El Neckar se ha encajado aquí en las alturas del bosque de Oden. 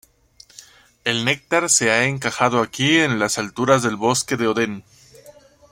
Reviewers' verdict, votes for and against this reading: rejected, 0, 2